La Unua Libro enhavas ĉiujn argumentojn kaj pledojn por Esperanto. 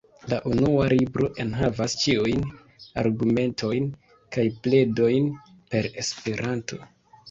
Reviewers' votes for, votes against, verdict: 0, 3, rejected